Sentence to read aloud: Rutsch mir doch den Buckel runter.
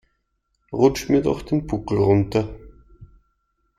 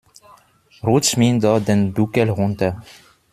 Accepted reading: first